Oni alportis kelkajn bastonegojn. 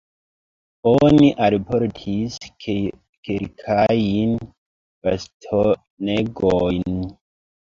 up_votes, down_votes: 0, 2